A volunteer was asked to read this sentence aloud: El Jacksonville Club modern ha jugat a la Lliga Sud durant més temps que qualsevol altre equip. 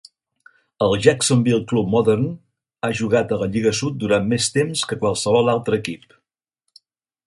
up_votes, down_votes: 4, 0